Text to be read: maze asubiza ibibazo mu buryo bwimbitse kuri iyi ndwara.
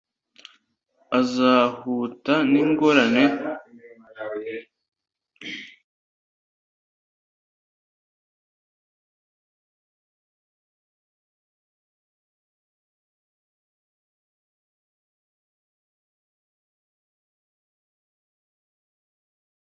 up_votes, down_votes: 0, 2